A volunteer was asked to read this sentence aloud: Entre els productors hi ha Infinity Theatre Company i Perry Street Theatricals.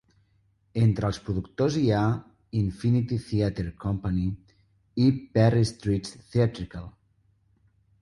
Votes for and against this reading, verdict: 2, 0, accepted